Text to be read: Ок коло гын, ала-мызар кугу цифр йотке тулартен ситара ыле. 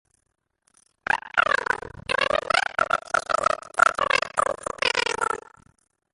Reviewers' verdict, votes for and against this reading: rejected, 0, 2